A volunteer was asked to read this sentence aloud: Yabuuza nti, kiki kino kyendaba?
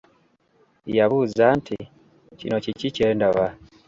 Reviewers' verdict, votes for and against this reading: rejected, 1, 3